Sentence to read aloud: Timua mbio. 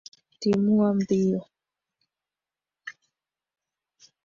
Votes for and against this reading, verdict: 0, 2, rejected